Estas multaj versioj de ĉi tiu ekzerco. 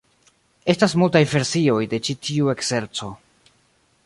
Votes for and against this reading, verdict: 1, 2, rejected